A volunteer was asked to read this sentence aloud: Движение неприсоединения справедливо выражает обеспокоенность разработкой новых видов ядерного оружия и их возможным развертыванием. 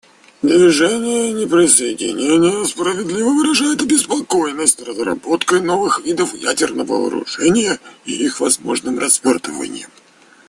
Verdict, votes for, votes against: rejected, 0, 2